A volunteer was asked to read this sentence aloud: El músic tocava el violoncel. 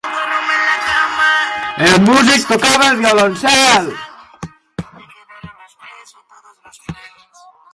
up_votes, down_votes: 0, 2